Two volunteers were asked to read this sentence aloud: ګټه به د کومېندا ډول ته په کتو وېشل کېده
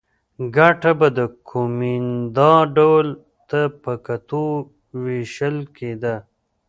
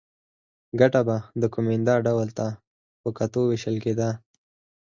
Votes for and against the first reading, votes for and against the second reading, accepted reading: 0, 2, 4, 0, second